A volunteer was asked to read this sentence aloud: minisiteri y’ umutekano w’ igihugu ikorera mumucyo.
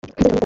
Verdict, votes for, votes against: rejected, 0, 2